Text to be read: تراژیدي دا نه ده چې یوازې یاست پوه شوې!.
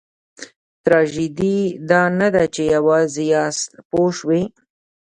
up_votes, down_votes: 1, 2